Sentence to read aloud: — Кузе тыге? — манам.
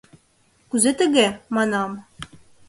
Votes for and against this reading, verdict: 2, 0, accepted